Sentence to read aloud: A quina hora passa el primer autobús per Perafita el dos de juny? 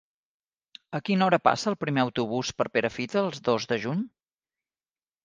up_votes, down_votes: 1, 2